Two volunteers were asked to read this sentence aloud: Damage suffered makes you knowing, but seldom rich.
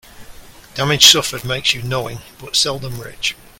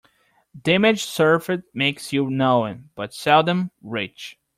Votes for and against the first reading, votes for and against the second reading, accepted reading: 2, 0, 0, 2, first